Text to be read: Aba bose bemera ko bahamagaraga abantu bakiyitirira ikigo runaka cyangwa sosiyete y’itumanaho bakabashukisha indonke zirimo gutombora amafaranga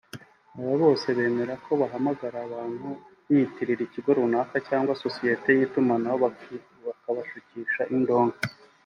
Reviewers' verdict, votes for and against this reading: rejected, 1, 2